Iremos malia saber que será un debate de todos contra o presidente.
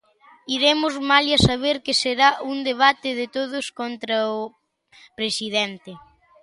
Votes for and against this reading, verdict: 0, 2, rejected